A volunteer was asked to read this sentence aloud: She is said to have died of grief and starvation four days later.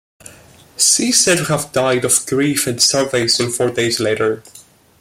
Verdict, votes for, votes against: rejected, 1, 2